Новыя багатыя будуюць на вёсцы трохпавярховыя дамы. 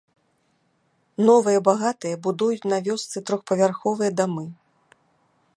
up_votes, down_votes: 2, 0